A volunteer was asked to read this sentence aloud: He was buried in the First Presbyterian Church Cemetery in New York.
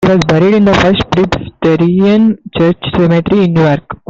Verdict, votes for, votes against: rejected, 0, 2